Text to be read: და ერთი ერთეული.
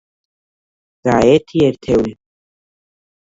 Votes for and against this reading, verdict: 1, 2, rejected